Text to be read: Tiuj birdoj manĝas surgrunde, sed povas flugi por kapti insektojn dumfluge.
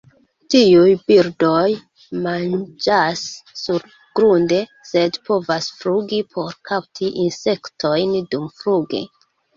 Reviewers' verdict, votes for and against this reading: rejected, 1, 2